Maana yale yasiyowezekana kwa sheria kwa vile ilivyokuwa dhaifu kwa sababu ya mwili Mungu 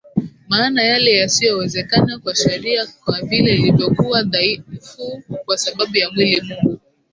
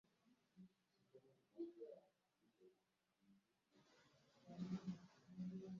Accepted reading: first